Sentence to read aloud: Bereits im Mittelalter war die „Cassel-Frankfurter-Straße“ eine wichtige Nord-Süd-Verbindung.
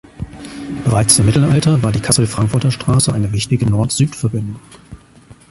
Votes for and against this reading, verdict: 2, 0, accepted